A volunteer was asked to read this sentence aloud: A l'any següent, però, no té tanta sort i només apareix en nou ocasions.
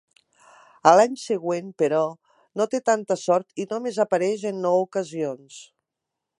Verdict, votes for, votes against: accepted, 2, 0